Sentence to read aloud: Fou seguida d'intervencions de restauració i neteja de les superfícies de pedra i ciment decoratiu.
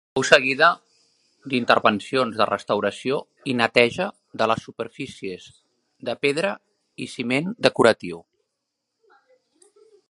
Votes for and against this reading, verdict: 2, 1, accepted